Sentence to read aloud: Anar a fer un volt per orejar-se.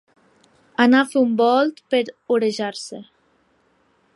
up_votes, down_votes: 3, 0